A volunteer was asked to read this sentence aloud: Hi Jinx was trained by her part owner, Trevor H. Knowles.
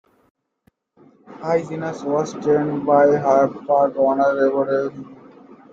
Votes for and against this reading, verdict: 0, 2, rejected